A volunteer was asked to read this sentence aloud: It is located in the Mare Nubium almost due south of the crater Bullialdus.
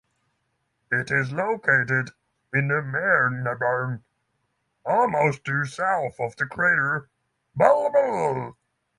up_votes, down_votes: 0, 6